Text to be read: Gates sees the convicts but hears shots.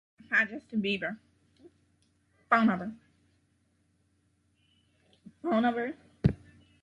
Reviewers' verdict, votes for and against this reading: rejected, 0, 2